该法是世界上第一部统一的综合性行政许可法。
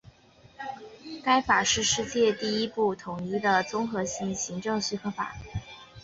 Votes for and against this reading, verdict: 2, 1, accepted